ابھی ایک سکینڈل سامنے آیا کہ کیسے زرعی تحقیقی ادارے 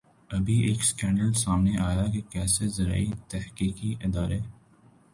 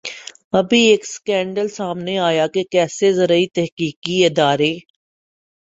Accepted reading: first